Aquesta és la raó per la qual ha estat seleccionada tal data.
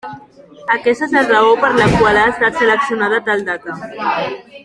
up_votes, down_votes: 2, 1